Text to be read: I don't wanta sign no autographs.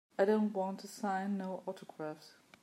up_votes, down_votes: 1, 2